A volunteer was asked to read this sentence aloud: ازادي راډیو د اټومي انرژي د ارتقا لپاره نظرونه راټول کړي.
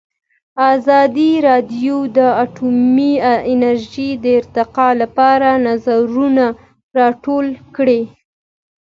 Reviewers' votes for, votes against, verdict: 2, 0, accepted